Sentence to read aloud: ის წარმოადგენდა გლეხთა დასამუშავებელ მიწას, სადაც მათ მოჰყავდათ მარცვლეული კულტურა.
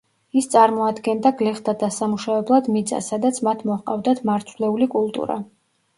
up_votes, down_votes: 0, 2